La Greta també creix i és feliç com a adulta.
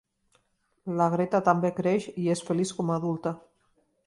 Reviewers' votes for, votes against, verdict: 2, 0, accepted